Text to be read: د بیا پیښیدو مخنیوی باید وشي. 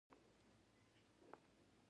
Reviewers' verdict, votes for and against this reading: rejected, 1, 2